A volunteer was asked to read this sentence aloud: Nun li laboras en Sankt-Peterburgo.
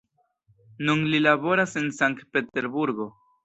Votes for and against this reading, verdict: 0, 2, rejected